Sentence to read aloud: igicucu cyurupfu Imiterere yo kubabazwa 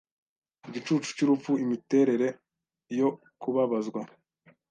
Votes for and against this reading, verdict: 2, 0, accepted